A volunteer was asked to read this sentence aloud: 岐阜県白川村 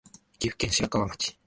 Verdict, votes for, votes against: rejected, 0, 2